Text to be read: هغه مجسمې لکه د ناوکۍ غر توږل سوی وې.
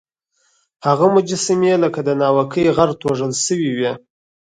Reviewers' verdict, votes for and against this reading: accepted, 4, 0